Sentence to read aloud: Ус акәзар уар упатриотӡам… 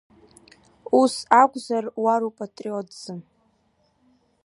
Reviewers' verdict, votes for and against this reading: accepted, 3, 2